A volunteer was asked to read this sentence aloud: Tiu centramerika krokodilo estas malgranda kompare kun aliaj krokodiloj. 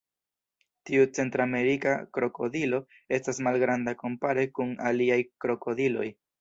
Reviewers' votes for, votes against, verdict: 2, 0, accepted